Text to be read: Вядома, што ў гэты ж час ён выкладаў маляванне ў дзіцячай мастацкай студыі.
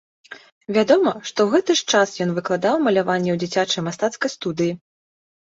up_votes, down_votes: 2, 0